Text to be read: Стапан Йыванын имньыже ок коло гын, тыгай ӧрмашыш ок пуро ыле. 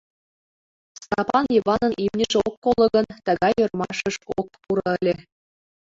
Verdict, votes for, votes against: accepted, 2, 0